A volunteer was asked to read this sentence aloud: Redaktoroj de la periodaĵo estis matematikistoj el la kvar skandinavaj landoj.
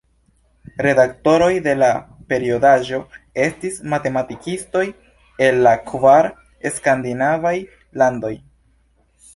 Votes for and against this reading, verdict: 1, 2, rejected